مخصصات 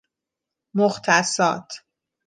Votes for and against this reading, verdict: 0, 2, rejected